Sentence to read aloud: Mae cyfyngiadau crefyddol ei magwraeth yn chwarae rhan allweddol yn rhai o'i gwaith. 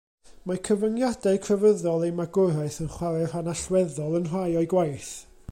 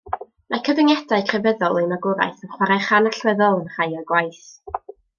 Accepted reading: first